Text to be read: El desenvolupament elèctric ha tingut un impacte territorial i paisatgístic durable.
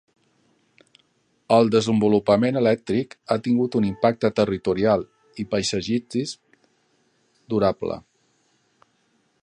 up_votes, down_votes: 0, 2